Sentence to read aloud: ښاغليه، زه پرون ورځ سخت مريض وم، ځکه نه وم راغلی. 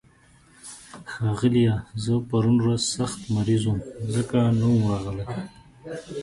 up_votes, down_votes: 4, 0